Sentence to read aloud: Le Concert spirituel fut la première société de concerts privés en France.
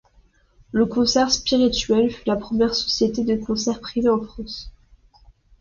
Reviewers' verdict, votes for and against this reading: accepted, 2, 0